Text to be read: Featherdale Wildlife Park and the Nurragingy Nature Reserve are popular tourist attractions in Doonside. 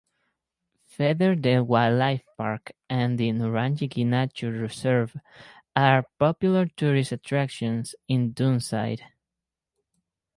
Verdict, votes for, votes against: accepted, 4, 0